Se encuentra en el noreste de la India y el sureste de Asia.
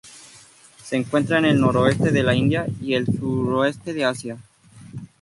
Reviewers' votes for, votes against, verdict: 4, 0, accepted